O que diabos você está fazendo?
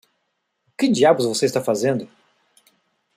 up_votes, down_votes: 2, 0